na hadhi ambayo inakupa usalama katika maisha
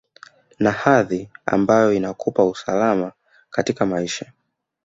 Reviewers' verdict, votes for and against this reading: rejected, 0, 2